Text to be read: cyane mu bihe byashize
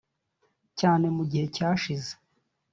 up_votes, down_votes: 0, 2